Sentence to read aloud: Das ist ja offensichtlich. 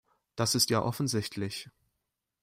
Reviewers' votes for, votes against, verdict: 2, 0, accepted